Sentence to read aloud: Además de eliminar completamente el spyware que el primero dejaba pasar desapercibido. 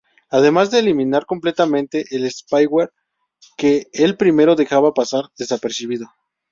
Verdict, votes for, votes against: rejected, 0, 2